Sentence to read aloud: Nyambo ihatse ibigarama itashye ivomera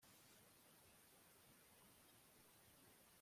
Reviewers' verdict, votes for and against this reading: rejected, 0, 2